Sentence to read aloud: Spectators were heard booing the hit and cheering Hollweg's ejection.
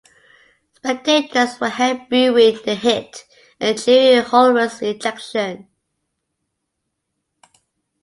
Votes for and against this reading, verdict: 0, 3, rejected